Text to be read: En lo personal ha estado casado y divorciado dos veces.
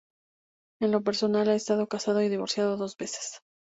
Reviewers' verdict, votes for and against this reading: rejected, 0, 2